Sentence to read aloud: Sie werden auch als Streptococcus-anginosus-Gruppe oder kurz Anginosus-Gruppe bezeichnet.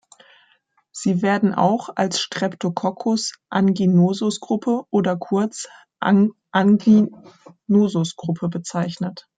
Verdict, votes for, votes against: rejected, 0, 2